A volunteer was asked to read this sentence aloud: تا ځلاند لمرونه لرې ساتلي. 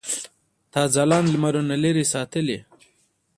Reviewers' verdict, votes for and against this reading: accepted, 2, 0